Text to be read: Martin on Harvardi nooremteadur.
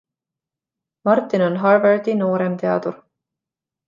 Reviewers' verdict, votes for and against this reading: accepted, 2, 0